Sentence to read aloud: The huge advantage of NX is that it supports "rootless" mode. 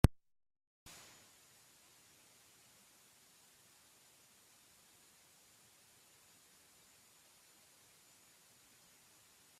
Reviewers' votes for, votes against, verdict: 0, 2, rejected